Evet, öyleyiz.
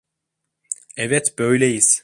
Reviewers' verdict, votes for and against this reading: rejected, 1, 2